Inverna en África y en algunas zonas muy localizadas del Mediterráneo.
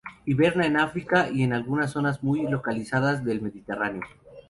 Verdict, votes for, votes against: accepted, 2, 0